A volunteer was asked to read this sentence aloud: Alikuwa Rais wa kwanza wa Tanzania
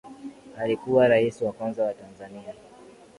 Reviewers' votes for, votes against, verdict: 6, 2, accepted